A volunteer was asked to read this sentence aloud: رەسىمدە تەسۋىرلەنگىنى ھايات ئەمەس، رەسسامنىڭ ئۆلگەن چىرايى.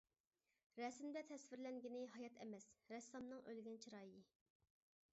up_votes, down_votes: 2, 0